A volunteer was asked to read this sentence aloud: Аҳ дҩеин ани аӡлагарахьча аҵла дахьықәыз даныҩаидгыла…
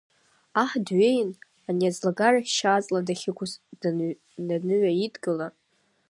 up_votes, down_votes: 0, 2